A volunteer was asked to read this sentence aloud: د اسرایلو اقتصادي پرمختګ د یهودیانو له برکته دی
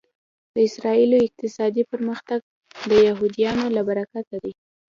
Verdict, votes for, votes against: accepted, 2, 0